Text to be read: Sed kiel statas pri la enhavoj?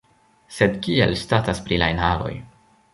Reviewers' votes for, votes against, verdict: 1, 2, rejected